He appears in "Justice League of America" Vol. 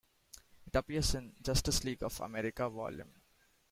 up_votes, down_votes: 0, 2